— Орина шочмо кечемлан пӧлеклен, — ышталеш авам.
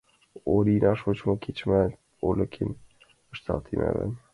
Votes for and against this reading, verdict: 0, 7, rejected